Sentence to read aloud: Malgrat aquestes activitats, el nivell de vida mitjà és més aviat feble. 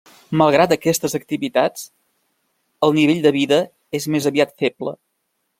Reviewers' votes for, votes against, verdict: 0, 2, rejected